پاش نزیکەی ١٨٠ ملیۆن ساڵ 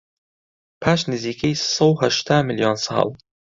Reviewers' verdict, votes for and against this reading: rejected, 0, 2